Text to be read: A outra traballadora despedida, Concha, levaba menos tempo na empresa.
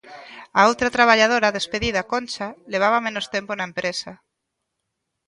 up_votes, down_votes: 2, 0